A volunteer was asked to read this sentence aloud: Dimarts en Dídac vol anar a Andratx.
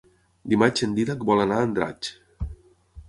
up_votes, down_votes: 0, 6